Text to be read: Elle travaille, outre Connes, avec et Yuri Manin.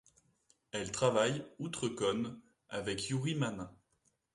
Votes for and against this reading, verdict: 1, 2, rejected